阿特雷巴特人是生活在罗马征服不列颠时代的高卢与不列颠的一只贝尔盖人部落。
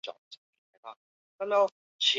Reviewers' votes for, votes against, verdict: 0, 3, rejected